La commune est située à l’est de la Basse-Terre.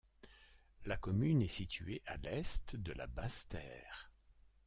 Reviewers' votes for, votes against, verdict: 1, 2, rejected